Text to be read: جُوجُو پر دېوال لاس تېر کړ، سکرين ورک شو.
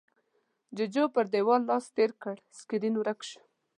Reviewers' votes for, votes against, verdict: 3, 0, accepted